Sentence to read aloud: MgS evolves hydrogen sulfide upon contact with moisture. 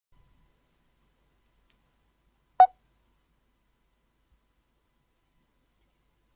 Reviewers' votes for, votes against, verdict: 0, 2, rejected